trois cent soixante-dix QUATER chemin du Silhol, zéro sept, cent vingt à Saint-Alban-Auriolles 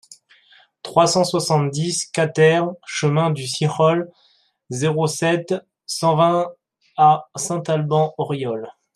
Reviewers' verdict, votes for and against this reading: rejected, 0, 2